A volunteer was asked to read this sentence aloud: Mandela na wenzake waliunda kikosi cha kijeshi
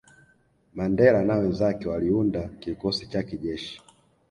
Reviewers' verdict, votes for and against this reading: accepted, 2, 0